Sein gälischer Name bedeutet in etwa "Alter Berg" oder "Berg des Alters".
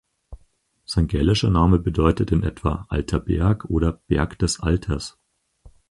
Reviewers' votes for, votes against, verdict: 4, 0, accepted